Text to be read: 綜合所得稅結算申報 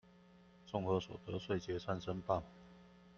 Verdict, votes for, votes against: accepted, 2, 0